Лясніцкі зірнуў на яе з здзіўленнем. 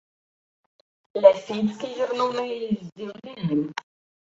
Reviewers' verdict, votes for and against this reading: rejected, 0, 2